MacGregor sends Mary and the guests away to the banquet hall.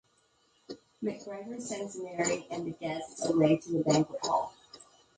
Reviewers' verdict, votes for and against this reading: rejected, 1, 2